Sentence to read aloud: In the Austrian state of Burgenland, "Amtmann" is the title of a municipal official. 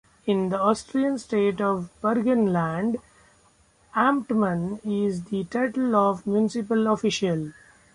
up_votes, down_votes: 1, 2